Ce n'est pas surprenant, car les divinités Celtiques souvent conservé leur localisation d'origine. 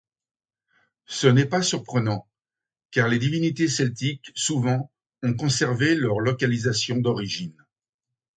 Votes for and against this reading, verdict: 1, 2, rejected